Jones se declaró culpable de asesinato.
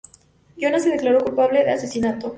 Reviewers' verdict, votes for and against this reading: accepted, 2, 0